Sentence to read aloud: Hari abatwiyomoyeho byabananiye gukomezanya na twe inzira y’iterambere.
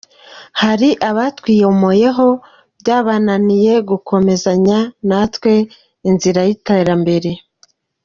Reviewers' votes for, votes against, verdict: 2, 0, accepted